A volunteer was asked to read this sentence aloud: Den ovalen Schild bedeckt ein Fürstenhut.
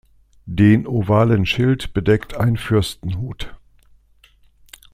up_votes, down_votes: 2, 0